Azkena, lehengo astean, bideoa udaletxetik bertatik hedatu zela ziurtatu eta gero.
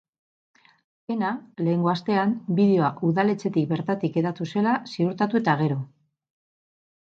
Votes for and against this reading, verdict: 0, 4, rejected